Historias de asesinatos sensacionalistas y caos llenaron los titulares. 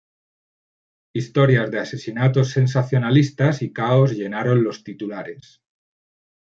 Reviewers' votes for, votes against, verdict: 2, 0, accepted